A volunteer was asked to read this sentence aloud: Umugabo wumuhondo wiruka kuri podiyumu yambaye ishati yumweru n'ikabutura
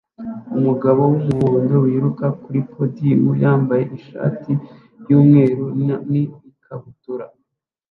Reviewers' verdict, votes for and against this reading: rejected, 1, 2